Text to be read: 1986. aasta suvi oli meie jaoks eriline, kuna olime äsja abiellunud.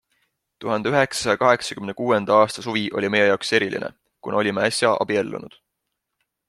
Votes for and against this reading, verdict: 0, 2, rejected